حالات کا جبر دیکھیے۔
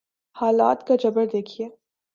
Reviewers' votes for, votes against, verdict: 3, 0, accepted